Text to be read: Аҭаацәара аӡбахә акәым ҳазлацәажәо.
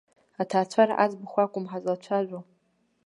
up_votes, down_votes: 2, 0